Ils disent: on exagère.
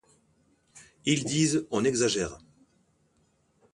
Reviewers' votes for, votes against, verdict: 2, 0, accepted